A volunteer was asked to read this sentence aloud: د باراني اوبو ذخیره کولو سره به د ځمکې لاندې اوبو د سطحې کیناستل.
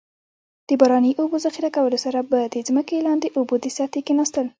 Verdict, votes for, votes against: rejected, 1, 2